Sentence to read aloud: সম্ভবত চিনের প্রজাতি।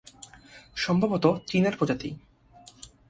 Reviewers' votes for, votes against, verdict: 2, 0, accepted